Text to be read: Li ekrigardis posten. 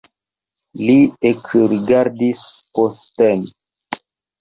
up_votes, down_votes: 1, 2